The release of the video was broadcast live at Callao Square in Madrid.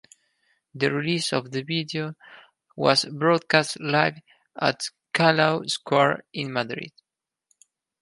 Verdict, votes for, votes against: accepted, 4, 0